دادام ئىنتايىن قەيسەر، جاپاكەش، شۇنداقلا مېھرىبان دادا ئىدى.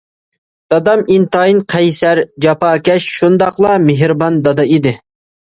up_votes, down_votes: 2, 0